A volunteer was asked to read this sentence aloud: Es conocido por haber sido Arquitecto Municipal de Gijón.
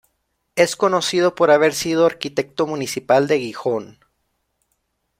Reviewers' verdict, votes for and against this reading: rejected, 1, 2